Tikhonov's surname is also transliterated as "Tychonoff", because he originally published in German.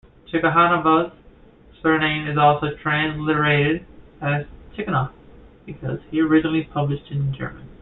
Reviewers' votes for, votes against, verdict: 2, 1, accepted